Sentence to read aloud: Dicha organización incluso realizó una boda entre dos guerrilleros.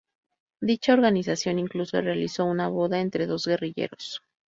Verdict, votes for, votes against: rejected, 0, 2